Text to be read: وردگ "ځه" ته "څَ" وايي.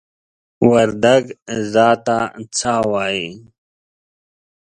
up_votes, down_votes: 2, 0